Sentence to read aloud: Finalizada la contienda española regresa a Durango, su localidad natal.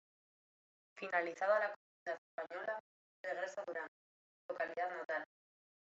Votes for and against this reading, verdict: 0, 2, rejected